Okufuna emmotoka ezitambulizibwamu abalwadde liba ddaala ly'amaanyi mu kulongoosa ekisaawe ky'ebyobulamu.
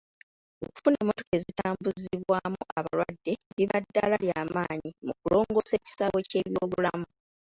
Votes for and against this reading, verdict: 0, 2, rejected